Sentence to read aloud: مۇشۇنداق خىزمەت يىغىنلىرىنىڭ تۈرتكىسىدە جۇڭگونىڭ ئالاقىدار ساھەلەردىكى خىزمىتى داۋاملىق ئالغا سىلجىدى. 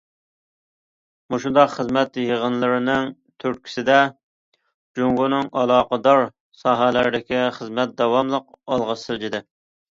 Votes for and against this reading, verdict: 0, 2, rejected